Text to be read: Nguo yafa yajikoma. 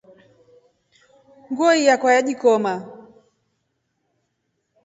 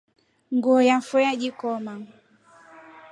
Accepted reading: second